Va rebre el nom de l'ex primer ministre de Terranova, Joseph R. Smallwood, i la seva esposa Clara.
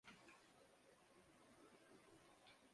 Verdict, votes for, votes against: rejected, 0, 2